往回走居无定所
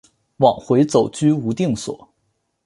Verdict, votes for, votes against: accepted, 4, 0